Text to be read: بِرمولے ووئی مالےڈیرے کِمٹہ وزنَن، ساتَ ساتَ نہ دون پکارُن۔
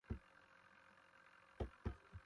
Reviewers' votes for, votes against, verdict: 0, 2, rejected